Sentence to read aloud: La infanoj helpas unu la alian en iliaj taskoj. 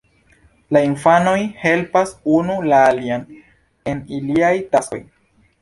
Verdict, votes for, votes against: accepted, 2, 0